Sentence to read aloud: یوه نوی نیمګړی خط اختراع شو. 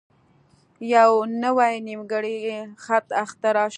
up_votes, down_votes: 2, 0